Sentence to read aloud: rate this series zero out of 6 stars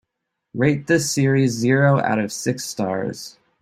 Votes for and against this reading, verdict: 0, 2, rejected